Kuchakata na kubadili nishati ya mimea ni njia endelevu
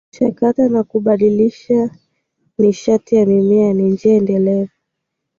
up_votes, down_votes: 2, 1